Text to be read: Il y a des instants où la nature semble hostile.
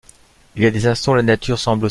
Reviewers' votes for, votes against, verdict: 0, 2, rejected